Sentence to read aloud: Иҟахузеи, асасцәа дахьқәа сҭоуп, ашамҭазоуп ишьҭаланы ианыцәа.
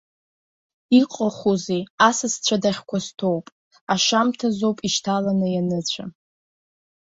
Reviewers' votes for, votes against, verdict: 0, 2, rejected